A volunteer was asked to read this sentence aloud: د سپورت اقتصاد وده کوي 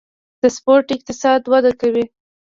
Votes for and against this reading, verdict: 1, 2, rejected